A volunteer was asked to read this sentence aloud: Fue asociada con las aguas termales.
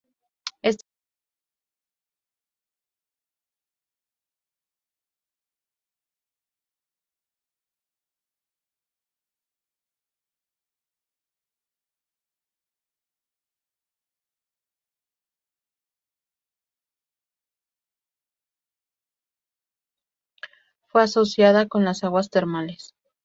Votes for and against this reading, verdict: 0, 4, rejected